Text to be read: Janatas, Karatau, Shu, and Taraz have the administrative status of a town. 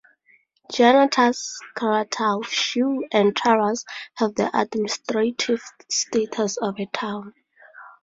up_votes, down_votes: 4, 0